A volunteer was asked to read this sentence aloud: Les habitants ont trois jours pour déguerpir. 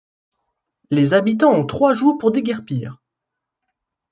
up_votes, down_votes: 2, 0